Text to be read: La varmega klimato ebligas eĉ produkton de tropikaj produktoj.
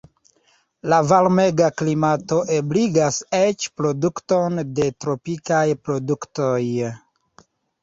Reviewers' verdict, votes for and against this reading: rejected, 1, 2